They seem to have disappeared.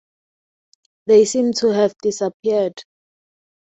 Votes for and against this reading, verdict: 2, 0, accepted